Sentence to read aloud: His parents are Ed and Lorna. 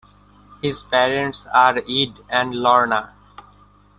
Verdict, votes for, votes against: accepted, 2, 0